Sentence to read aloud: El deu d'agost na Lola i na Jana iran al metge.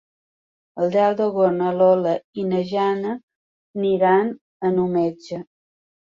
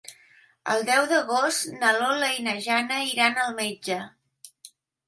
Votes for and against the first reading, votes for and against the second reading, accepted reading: 0, 2, 4, 0, second